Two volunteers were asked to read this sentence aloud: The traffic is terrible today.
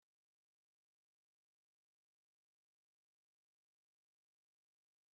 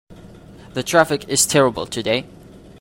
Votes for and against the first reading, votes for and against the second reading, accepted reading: 0, 2, 2, 0, second